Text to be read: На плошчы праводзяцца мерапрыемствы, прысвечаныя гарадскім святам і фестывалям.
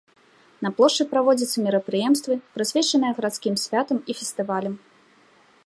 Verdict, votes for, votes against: accepted, 2, 0